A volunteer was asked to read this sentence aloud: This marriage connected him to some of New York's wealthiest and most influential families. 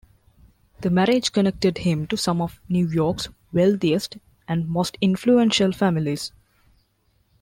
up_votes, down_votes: 0, 2